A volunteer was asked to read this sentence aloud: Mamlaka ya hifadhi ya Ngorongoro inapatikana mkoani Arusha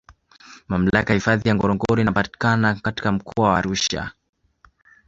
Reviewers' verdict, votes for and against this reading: rejected, 0, 2